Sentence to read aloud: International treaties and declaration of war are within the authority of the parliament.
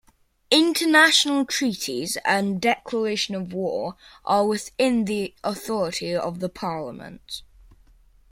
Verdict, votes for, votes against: accepted, 2, 0